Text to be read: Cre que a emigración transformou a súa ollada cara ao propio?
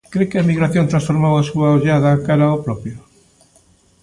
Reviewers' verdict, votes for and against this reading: accepted, 2, 0